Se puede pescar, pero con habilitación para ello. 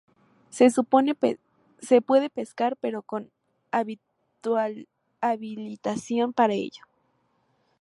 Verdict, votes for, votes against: rejected, 0, 2